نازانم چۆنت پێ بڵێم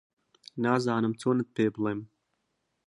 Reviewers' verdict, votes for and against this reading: accepted, 2, 0